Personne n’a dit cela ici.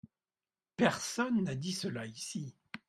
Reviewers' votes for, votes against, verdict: 2, 0, accepted